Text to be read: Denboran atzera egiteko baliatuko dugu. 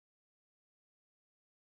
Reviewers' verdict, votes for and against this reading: rejected, 0, 2